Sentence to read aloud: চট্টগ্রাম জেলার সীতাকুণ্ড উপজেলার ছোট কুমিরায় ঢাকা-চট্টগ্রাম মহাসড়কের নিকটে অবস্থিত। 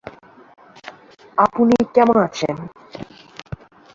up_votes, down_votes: 0, 3